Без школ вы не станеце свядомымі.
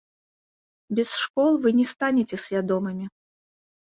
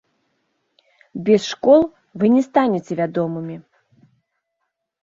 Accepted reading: first